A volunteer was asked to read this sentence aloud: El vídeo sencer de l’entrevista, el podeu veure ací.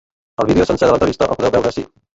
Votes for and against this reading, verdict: 0, 2, rejected